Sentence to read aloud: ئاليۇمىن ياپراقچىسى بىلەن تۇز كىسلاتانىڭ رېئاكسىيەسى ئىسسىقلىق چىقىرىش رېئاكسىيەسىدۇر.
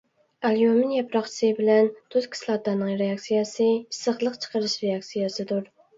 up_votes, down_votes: 2, 0